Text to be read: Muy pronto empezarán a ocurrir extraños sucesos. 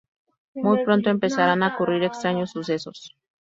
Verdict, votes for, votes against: accepted, 2, 0